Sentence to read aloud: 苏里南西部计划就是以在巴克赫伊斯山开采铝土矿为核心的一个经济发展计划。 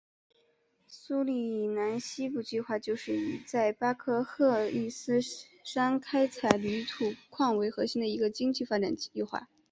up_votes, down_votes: 3, 1